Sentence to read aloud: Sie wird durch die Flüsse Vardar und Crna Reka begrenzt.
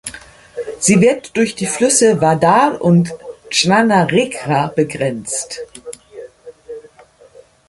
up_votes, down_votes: 1, 2